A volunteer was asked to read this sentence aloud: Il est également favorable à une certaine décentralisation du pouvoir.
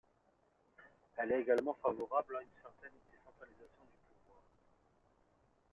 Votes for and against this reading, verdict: 0, 2, rejected